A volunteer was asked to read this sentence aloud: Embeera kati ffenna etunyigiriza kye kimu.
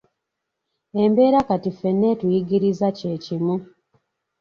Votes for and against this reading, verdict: 2, 3, rejected